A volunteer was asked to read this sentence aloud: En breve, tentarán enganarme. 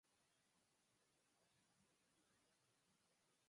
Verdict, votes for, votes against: rejected, 0, 4